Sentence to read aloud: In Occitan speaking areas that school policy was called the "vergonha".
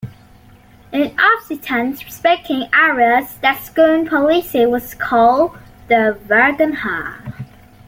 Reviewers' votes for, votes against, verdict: 0, 2, rejected